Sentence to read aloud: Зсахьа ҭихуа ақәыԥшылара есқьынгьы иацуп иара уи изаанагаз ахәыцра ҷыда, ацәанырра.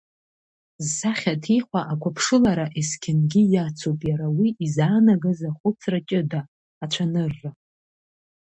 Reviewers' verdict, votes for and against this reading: accepted, 2, 1